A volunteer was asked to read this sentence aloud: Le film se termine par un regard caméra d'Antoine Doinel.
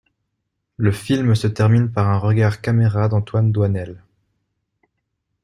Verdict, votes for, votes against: accepted, 2, 0